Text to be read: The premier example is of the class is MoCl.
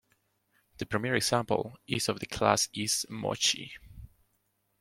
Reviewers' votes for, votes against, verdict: 2, 0, accepted